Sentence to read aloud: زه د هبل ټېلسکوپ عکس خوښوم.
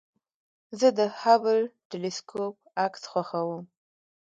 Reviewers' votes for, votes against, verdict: 2, 0, accepted